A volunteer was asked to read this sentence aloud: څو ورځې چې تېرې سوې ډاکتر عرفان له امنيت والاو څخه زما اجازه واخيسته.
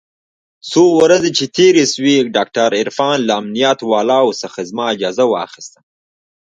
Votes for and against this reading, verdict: 2, 1, accepted